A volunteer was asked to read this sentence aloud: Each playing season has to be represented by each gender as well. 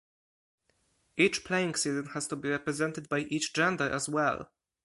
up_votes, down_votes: 0, 4